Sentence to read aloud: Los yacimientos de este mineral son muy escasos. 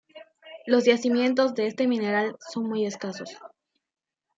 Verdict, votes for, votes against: accepted, 2, 0